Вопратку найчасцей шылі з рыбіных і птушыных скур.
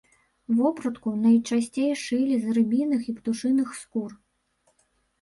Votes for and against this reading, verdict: 0, 2, rejected